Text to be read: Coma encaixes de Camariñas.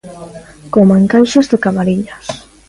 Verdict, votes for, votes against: accepted, 3, 0